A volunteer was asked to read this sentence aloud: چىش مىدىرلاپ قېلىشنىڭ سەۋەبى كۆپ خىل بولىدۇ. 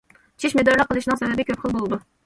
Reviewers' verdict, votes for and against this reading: rejected, 1, 2